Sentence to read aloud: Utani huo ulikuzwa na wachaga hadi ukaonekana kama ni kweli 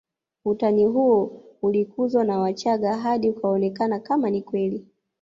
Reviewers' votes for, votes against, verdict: 1, 2, rejected